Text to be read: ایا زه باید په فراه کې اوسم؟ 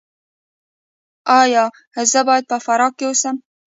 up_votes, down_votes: 1, 2